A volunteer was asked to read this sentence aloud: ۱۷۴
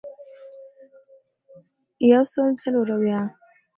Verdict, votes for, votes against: rejected, 0, 2